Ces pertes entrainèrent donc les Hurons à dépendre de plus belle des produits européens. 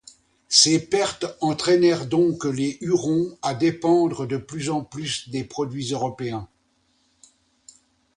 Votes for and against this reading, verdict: 1, 2, rejected